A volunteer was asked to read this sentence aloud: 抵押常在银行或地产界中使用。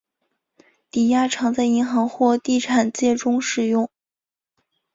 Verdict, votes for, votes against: accepted, 3, 0